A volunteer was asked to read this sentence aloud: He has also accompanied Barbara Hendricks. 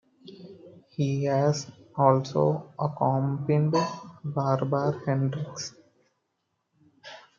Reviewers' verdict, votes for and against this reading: rejected, 0, 2